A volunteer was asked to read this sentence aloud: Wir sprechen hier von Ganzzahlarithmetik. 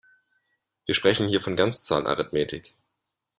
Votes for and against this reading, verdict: 2, 0, accepted